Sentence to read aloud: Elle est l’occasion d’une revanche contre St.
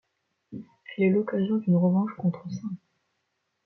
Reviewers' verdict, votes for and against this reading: accepted, 2, 0